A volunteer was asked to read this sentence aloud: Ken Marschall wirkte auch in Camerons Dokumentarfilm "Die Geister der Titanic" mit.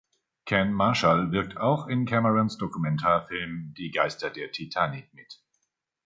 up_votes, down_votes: 1, 2